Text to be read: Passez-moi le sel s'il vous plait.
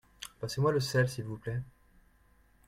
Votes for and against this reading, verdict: 2, 0, accepted